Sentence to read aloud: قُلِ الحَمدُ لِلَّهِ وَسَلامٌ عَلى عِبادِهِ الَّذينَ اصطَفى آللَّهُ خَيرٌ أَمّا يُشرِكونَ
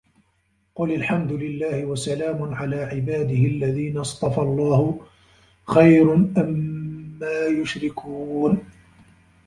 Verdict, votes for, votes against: rejected, 1, 2